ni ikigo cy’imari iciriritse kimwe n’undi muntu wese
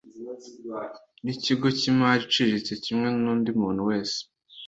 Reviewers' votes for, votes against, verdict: 2, 0, accepted